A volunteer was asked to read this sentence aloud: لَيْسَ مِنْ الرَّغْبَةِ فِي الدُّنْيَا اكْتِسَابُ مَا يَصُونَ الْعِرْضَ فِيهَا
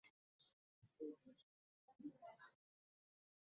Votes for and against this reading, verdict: 1, 2, rejected